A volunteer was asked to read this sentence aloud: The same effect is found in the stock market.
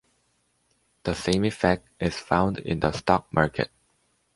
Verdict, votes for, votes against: accepted, 2, 0